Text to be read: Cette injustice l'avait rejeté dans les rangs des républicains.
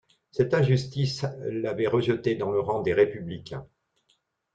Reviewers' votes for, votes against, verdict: 2, 1, accepted